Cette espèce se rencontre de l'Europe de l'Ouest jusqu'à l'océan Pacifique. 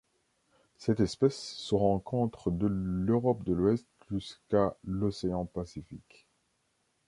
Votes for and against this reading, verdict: 2, 0, accepted